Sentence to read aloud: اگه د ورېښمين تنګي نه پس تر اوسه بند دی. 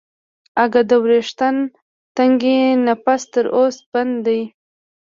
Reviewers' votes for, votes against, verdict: 1, 2, rejected